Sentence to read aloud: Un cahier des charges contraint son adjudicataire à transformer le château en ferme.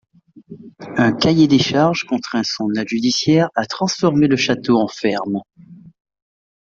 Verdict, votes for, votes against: rejected, 0, 2